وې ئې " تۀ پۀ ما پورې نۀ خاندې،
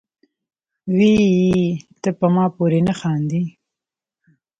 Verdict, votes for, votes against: accepted, 2, 0